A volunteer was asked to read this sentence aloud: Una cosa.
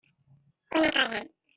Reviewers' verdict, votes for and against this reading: rejected, 0, 2